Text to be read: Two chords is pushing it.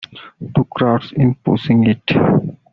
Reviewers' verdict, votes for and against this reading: rejected, 0, 2